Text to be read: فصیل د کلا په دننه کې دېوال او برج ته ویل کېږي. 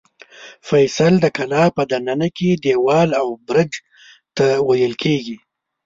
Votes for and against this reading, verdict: 1, 2, rejected